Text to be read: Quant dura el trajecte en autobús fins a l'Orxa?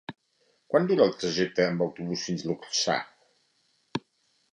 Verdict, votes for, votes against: rejected, 1, 2